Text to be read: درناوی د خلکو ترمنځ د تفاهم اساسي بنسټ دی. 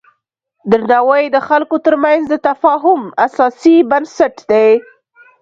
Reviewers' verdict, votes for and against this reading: accepted, 2, 0